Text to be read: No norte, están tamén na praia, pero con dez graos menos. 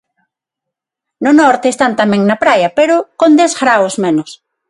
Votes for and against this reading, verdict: 6, 0, accepted